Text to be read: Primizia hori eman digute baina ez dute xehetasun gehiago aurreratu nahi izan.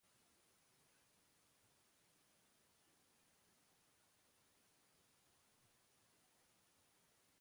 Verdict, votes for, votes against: rejected, 0, 3